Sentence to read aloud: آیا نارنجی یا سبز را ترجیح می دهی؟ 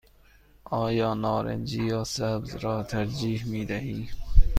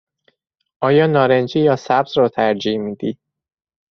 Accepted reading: first